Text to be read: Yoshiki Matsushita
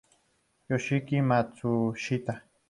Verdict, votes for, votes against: accepted, 2, 0